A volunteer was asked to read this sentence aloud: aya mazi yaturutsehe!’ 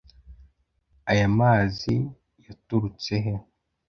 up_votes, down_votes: 2, 0